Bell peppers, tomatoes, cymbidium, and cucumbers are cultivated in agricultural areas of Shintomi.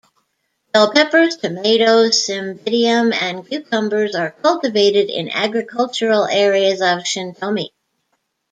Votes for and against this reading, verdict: 2, 1, accepted